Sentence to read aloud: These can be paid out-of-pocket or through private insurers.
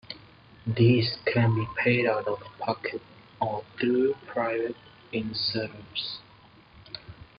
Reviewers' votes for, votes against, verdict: 0, 2, rejected